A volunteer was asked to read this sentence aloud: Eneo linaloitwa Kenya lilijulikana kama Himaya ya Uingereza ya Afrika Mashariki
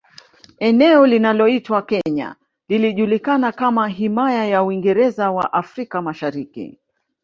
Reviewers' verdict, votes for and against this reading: accepted, 2, 0